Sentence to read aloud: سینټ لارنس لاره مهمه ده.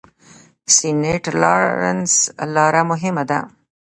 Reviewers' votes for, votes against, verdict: 1, 2, rejected